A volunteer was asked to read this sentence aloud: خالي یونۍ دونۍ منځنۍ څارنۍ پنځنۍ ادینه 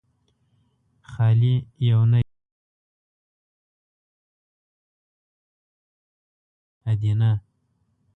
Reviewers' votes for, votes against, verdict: 0, 2, rejected